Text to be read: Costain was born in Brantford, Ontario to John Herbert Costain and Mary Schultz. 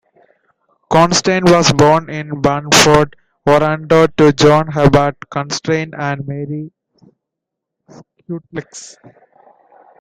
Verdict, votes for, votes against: rejected, 0, 2